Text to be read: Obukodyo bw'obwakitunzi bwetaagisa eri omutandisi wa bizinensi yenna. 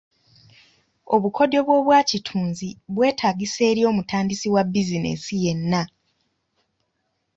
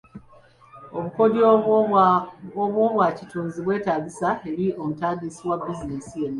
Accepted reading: first